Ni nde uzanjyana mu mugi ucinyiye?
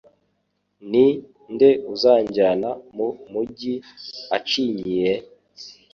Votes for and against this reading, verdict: 1, 2, rejected